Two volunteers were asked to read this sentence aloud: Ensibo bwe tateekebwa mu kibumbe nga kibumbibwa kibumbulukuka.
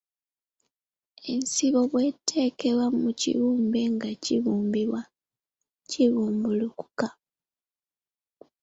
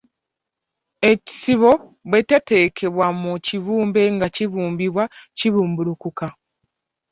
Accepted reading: first